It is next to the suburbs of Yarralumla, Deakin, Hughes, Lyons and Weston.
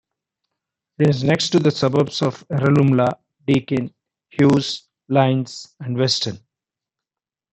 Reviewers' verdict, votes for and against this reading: accepted, 2, 0